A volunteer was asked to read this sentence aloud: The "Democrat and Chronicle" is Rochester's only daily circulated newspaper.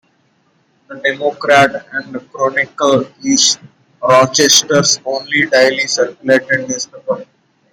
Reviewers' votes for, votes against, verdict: 1, 2, rejected